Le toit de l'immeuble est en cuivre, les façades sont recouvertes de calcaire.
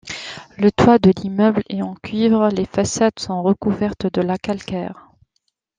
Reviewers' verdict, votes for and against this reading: rejected, 0, 2